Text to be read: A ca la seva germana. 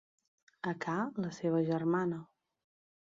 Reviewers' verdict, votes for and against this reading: accepted, 2, 1